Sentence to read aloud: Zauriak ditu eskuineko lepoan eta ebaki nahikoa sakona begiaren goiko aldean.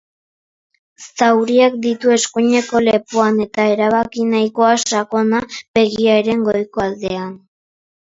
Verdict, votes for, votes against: rejected, 0, 2